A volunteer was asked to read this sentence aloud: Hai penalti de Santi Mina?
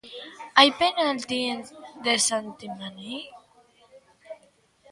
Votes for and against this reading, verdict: 0, 2, rejected